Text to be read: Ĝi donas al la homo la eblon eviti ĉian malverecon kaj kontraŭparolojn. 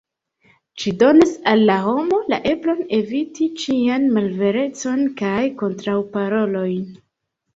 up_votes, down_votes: 0, 2